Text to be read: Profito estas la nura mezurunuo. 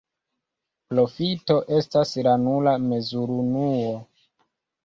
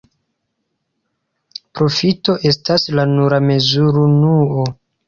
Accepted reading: second